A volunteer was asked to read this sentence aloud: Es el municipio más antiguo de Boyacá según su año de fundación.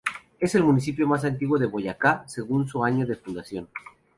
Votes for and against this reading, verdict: 2, 0, accepted